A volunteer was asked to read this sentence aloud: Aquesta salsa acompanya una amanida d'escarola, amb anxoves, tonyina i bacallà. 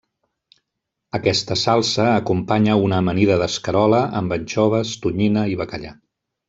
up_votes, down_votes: 2, 0